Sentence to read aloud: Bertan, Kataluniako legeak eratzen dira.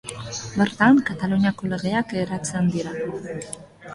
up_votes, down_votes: 2, 0